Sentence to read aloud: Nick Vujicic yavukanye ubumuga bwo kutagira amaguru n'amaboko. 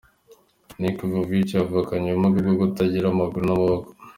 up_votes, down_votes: 2, 0